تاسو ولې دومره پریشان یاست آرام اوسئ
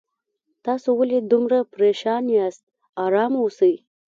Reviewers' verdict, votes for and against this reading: accepted, 2, 0